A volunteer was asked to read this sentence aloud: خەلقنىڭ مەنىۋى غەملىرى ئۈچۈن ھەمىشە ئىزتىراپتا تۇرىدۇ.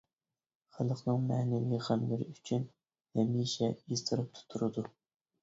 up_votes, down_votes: 0, 2